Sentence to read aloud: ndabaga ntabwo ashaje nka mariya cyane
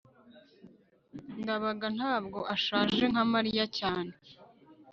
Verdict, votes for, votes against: accepted, 2, 0